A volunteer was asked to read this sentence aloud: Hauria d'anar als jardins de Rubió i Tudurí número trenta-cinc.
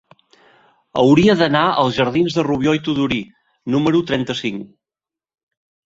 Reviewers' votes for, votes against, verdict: 2, 0, accepted